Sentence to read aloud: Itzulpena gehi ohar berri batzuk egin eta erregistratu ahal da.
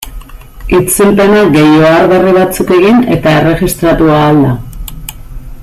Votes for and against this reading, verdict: 2, 0, accepted